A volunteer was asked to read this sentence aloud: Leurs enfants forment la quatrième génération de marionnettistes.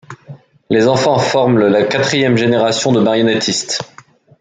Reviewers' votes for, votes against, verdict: 1, 2, rejected